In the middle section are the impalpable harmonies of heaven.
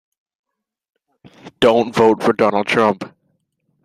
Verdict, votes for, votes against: rejected, 0, 2